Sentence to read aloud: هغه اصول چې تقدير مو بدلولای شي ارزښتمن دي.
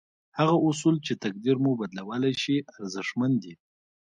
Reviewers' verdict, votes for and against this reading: rejected, 0, 2